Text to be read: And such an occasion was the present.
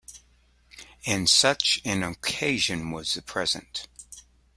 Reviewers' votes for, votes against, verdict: 2, 0, accepted